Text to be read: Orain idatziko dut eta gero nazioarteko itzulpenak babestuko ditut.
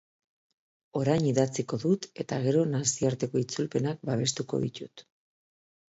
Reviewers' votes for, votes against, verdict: 2, 0, accepted